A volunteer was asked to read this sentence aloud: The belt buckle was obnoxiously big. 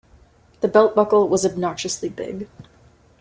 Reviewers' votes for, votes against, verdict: 2, 0, accepted